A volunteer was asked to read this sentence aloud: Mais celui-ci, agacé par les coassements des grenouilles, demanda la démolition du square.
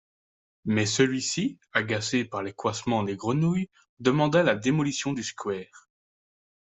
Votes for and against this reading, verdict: 0, 2, rejected